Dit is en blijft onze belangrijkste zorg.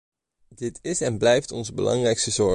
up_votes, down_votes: 2, 3